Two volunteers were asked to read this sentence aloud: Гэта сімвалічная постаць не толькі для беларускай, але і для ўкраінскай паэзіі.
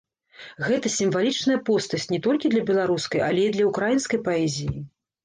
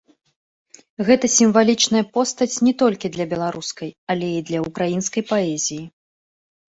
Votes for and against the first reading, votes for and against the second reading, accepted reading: 1, 2, 2, 0, second